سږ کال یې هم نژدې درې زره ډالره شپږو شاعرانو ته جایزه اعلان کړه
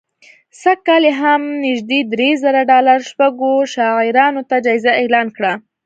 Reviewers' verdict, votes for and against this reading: accepted, 2, 0